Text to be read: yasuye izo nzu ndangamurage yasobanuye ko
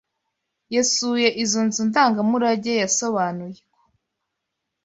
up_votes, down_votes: 1, 2